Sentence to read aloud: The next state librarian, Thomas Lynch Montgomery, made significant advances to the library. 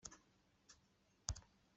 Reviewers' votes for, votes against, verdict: 0, 2, rejected